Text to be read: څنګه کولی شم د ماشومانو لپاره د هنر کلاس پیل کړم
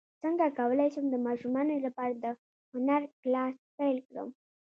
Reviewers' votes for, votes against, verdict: 0, 2, rejected